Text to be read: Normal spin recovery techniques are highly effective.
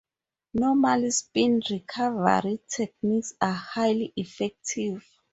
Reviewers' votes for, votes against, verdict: 2, 2, rejected